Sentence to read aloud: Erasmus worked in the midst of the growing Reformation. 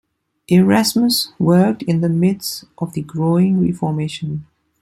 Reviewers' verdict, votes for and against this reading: accepted, 2, 1